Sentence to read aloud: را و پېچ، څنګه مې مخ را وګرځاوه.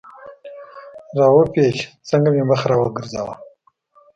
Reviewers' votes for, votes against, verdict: 2, 0, accepted